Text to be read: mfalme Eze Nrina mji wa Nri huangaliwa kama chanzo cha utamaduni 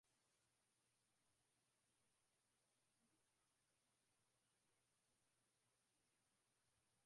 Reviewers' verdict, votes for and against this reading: rejected, 0, 2